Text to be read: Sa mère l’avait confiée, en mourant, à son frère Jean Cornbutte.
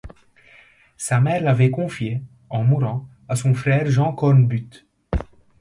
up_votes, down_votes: 2, 0